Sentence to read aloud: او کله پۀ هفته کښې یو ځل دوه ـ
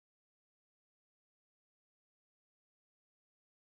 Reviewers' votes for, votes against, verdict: 0, 2, rejected